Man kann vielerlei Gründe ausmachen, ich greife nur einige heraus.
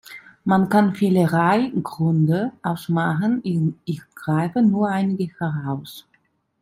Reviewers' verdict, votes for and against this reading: rejected, 0, 2